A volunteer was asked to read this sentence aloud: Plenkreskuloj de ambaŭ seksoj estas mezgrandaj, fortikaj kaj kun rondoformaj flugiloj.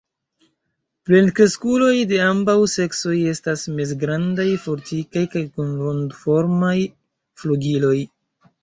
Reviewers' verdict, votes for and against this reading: accepted, 2, 1